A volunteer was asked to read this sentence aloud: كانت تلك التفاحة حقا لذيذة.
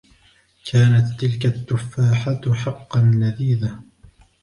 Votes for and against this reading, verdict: 1, 2, rejected